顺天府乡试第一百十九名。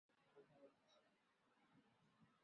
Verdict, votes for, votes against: rejected, 0, 6